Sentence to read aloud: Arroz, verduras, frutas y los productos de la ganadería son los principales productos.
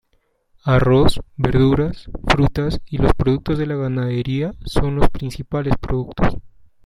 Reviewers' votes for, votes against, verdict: 2, 1, accepted